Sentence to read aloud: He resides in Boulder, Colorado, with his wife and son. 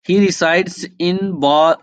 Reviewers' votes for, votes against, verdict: 0, 2, rejected